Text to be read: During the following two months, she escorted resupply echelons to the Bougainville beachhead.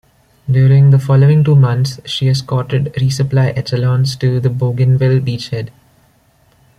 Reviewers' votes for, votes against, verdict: 2, 0, accepted